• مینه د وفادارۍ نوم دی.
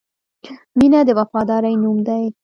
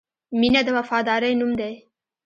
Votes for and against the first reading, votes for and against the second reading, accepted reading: 2, 0, 1, 2, first